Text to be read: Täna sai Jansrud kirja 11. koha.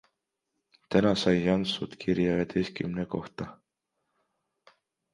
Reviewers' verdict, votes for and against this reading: rejected, 0, 2